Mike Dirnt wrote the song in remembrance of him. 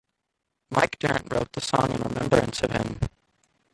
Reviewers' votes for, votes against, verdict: 2, 1, accepted